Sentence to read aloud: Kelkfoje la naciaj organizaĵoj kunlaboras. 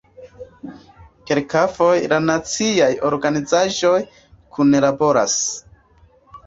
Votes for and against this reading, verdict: 2, 0, accepted